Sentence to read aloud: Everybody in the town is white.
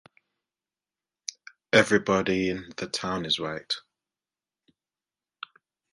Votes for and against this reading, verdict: 2, 0, accepted